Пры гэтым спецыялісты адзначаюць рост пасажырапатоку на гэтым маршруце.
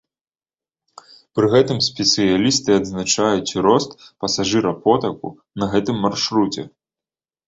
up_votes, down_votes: 0, 2